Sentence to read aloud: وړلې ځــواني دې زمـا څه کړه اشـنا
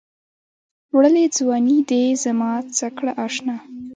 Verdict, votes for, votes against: rejected, 1, 2